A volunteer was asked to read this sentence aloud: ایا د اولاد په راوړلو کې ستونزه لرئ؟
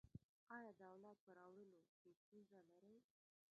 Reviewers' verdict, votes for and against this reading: rejected, 0, 2